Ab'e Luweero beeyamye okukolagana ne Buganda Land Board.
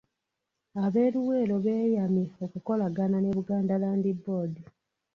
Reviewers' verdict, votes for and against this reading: rejected, 1, 2